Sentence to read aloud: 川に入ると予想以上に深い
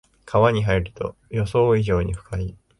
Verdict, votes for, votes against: accepted, 3, 0